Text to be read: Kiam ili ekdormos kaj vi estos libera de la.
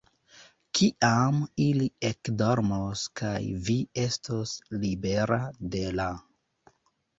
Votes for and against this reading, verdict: 0, 2, rejected